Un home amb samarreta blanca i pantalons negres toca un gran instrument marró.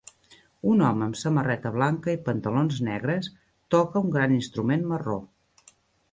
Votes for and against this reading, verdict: 3, 0, accepted